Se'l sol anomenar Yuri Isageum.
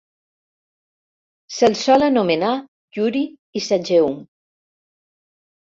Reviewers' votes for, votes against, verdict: 2, 0, accepted